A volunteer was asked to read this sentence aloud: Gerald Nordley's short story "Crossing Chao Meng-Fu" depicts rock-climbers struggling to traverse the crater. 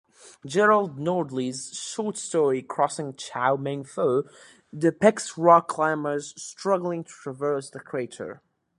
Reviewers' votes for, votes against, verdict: 2, 0, accepted